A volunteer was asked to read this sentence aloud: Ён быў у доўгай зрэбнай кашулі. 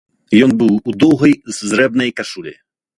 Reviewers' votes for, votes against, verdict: 1, 2, rejected